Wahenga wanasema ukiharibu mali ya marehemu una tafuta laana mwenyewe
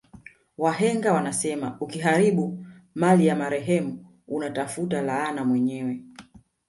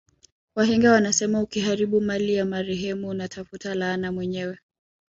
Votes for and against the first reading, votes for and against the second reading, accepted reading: 3, 0, 1, 2, first